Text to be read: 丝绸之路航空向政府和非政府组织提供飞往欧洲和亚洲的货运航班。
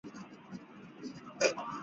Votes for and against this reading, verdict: 0, 5, rejected